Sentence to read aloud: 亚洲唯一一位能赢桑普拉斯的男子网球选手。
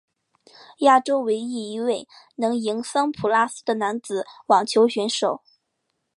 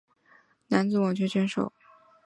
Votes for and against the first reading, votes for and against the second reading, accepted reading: 6, 0, 1, 2, first